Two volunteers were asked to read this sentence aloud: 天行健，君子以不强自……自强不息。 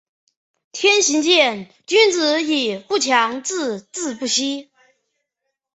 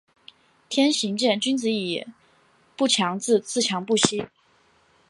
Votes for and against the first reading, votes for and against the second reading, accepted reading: 1, 2, 2, 1, second